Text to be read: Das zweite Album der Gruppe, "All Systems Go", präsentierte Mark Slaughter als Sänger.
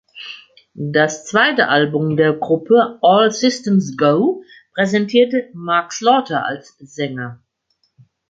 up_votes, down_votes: 2, 0